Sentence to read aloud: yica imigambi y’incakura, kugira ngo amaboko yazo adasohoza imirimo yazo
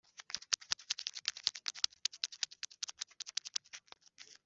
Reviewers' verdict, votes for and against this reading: rejected, 0, 2